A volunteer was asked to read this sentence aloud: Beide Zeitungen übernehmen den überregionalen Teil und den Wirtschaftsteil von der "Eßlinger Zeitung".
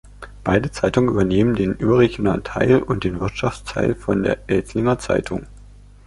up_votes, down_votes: 1, 2